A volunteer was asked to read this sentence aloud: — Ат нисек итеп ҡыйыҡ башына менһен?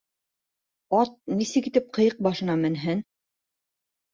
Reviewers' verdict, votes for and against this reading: rejected, 1, 2